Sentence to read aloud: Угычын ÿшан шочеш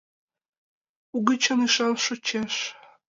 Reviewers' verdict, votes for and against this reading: rejected, 0, 2